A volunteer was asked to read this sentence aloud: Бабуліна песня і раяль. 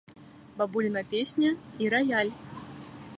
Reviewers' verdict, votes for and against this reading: accepted, 2, 0